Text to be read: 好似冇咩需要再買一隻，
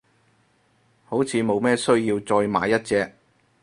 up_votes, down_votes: 4, 0